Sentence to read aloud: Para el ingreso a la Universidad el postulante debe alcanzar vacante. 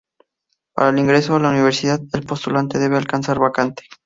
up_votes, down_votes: 2, 2